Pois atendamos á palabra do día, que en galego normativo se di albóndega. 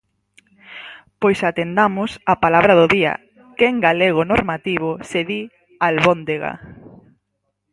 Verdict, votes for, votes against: rejected, 2, 2